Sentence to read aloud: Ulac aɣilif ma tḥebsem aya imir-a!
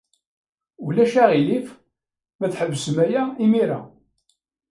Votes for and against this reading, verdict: 1, 2, rejected